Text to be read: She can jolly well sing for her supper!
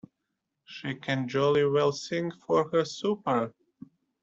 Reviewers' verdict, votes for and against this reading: rejected, 0, 2